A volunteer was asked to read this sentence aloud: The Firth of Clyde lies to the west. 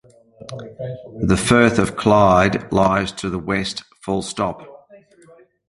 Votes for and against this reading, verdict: 0, 2, rejected